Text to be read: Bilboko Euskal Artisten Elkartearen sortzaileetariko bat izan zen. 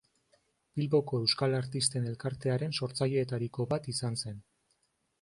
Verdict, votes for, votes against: accepted, 2, 0